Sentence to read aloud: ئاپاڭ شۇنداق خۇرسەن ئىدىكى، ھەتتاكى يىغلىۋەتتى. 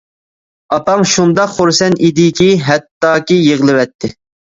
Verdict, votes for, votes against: accepted, 2, 0